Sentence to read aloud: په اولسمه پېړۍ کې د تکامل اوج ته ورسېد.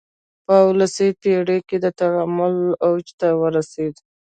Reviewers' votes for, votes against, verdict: 2, 1, accepted